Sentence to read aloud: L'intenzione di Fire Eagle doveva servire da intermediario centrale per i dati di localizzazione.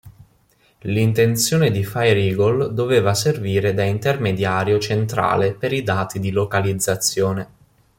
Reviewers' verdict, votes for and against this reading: accepted, 2, 0